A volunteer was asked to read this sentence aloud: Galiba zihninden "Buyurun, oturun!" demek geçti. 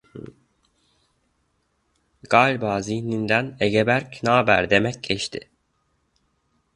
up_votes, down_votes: 0, 2